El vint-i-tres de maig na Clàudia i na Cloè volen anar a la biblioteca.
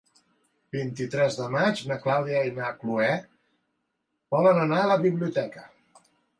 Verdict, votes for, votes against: rejected, 1, 2